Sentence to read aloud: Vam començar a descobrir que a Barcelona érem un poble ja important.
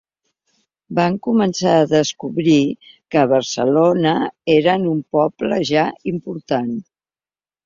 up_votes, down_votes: 1, 2